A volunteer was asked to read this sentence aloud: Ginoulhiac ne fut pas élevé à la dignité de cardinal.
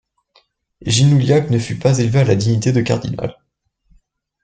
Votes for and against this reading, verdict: 2, 0, accepted